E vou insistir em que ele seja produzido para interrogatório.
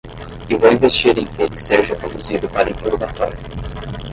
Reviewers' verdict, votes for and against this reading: rejected, 5, 5